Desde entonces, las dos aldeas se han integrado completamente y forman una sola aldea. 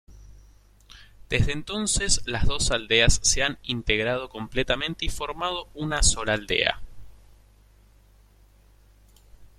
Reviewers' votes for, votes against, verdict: 0, 2, rejected